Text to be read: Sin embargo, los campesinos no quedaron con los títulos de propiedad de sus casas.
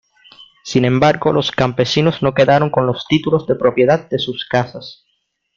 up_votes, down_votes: 2, 0